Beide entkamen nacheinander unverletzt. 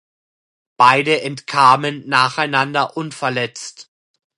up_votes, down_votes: 2, 0